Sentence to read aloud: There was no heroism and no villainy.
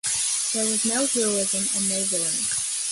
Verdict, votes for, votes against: accepted, 2, 1